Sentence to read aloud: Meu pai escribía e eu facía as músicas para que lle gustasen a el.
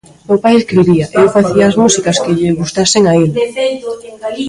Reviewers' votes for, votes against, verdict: 0, 2, rejected